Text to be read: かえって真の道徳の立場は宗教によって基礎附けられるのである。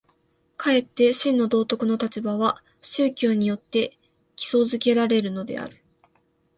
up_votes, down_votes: 2, 0